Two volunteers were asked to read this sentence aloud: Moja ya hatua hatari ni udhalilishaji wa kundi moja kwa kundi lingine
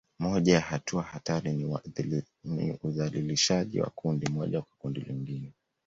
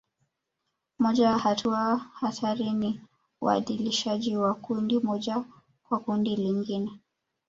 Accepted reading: second